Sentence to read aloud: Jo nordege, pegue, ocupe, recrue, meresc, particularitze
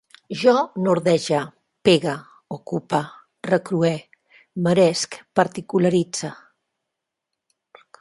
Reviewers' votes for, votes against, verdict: 0, 2, rejected